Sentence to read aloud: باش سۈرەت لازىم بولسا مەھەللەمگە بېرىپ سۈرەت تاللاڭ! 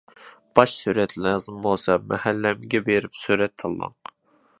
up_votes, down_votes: 2, 0